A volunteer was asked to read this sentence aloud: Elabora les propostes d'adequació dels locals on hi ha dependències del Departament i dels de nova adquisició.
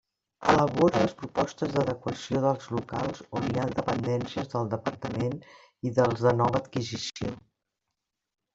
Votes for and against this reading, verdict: 1, 2, rejected